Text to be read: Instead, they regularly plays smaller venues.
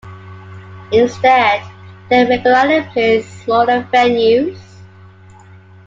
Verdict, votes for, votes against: accepted, 2, 1